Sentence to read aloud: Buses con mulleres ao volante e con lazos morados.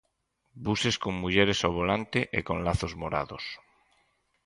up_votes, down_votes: 4, 0